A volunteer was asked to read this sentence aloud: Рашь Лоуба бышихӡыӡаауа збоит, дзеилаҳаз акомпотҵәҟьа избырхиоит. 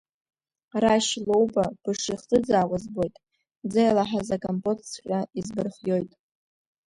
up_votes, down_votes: 2, 1